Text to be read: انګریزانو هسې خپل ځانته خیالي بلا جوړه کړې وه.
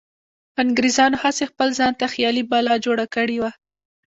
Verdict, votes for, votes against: rejected, 0, 2